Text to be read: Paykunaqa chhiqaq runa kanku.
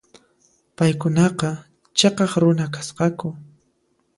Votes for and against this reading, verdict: 0, 2, rejected